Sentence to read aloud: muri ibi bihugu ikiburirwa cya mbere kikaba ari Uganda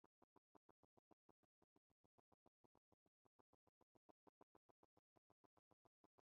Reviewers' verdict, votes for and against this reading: rejected, 0, 2